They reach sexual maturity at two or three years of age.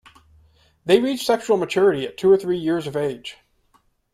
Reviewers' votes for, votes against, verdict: 2, 0, accepted